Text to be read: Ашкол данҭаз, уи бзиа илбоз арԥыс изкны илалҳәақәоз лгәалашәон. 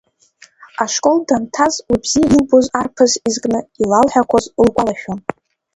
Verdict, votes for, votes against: rejected, 1, 2